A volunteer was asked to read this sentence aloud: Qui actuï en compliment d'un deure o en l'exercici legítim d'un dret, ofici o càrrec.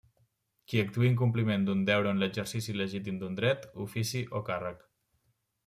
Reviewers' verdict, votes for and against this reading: accepted, 2, 0